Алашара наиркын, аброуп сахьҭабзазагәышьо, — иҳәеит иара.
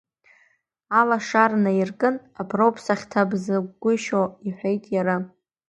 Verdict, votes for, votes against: rejected, 0, 2